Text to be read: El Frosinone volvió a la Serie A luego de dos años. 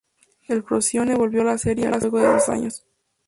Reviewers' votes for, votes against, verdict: 0, 4, rejected